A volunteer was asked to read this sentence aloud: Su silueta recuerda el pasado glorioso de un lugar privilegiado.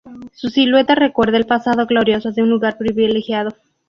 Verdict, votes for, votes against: accepted, 2, 0